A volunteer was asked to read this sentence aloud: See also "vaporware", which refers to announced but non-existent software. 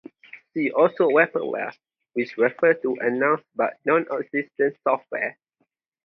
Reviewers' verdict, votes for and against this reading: rejected, 2, 2